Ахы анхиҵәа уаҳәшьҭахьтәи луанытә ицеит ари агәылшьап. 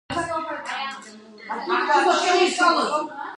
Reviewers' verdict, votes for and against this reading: rejected, 0, 2